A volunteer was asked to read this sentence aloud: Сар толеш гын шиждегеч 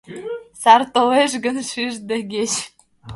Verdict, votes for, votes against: rejected, 1, 2